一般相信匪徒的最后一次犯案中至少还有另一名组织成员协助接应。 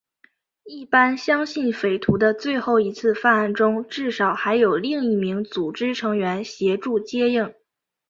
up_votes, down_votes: 5, 0